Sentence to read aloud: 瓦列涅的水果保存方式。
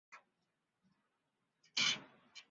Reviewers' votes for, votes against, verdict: 0, 3, rejected